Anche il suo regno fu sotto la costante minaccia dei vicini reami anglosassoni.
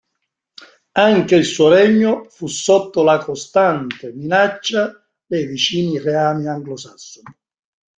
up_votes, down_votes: 2, 0